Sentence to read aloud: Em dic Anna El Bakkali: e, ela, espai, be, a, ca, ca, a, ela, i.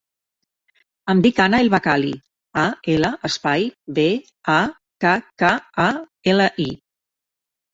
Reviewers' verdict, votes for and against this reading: rejected, 1, 2